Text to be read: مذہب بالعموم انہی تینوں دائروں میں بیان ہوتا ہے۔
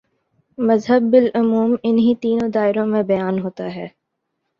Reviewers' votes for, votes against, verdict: 2, 0, accepted